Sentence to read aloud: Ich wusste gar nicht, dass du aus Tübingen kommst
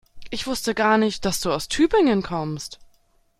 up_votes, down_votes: 2, 0